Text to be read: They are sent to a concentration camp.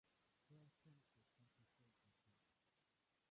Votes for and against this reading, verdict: 0, 3, rejected